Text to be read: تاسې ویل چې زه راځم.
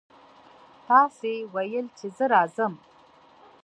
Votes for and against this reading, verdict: 2, 0, accepted